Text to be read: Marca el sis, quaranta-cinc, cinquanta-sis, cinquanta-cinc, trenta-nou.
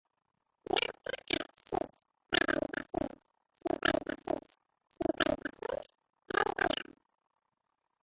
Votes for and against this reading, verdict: 1, 4, rejected